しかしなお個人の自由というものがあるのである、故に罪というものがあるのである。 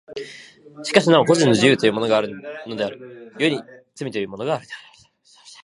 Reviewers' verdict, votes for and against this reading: rejected, 0, 4